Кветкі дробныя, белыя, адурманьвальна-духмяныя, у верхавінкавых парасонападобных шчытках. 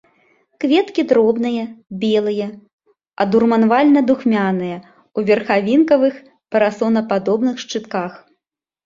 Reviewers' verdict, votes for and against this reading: rejected, 1, 3